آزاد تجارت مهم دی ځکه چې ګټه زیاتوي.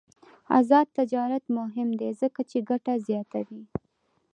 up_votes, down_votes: 2, 0